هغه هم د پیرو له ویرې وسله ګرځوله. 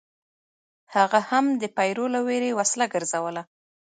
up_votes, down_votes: 1, 2